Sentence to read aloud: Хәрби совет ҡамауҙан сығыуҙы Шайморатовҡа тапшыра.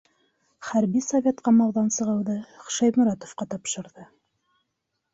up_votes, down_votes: 0, 2